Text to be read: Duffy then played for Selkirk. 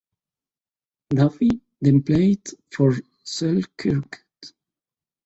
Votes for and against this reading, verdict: 1, 2, rejected